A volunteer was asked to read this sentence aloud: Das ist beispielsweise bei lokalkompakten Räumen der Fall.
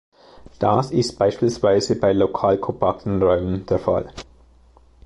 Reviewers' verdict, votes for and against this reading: accepted, 2, 0